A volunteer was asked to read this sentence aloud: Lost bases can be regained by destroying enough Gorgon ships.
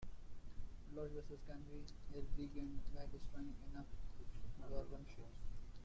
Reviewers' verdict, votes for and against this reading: rejected, 0, 2